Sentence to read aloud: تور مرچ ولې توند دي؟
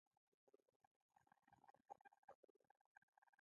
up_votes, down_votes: 1, 2